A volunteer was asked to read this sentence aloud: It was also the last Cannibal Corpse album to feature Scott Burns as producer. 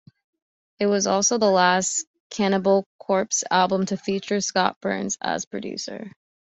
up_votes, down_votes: 3, 0